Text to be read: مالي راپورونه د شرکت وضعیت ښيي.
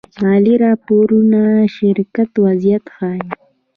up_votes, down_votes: 1, 2